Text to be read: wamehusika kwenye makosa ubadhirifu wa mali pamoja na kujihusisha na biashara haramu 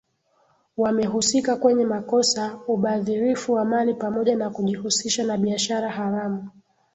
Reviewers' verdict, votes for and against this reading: accepted, 2, 0